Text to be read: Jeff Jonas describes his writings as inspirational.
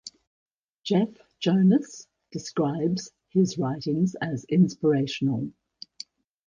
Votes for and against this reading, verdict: 2, 0, accepted